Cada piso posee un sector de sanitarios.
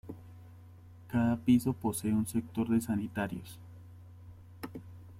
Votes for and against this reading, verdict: 2, 0, accepted